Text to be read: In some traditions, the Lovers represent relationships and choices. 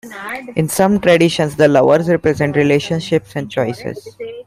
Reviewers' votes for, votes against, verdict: 2, 0, accepted